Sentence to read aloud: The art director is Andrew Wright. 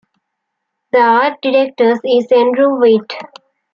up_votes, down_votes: 0, 2